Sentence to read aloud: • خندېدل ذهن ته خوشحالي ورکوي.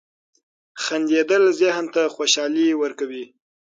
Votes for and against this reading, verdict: 9, 0, accepted